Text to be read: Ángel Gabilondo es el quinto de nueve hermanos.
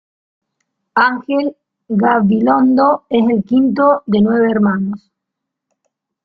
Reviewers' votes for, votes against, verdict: 1, 2, rejected